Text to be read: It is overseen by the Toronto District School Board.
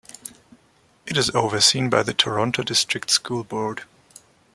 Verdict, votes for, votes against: accepted, 2, 0